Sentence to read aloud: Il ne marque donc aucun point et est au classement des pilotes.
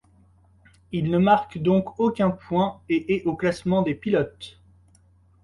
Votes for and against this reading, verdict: 2, 0, accepted